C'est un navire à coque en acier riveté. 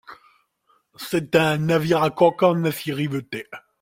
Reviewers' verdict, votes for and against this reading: accepted, 2, 0